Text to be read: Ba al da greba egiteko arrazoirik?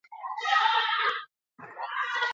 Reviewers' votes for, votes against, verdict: 2, 0, accepted